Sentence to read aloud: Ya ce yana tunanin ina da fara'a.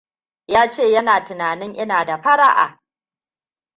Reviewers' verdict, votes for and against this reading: accepted, 2, 0